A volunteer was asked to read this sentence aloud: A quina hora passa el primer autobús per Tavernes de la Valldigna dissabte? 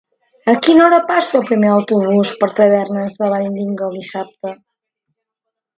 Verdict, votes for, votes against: accepted, 2, 0